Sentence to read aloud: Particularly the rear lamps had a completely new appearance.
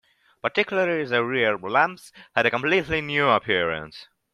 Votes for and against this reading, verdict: 1, 2, rejected